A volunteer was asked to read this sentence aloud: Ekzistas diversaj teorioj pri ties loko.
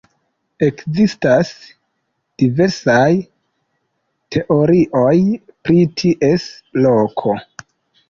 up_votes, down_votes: 2, 0